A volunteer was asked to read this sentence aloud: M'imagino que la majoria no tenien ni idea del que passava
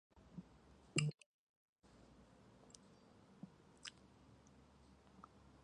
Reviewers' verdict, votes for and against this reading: rejected, 0, 2